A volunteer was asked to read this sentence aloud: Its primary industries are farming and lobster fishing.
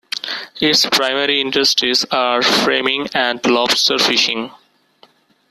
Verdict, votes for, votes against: rejected, 0, 2